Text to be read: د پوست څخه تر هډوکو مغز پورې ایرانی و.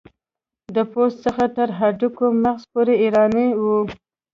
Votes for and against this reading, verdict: 1, 2, rejected